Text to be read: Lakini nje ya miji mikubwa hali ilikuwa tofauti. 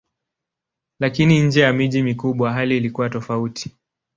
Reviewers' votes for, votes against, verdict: 2, 0, accepted